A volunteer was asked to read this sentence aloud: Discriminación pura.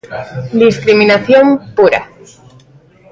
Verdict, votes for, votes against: rejected, 1, 2